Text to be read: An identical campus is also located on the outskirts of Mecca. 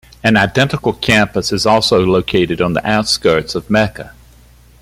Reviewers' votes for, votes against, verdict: 2, 0, accepted